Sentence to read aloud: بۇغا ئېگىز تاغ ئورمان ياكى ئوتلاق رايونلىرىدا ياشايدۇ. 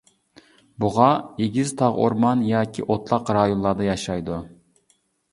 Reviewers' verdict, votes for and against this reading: rejected, 2, 3